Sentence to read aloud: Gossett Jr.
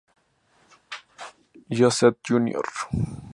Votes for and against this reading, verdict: 4, 0, accepted